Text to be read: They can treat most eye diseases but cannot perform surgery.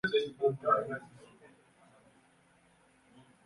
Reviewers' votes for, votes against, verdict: 0, 2, rejected